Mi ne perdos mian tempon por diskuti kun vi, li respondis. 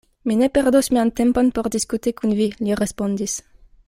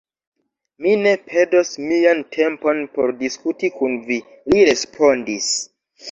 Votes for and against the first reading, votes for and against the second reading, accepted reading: 2, 0, 1, 2, first